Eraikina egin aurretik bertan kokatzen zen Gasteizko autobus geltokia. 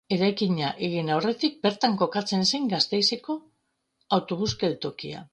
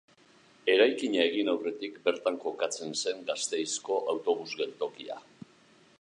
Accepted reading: second